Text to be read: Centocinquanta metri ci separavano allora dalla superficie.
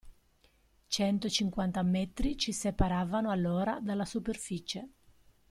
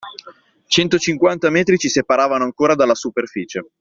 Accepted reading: first